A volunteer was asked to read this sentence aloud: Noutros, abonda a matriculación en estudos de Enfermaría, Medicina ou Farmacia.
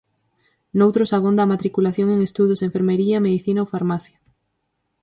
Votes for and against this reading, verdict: 2, 4, rejected